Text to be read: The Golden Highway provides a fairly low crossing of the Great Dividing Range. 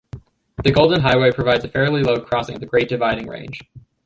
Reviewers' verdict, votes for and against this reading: accepted, 2, 1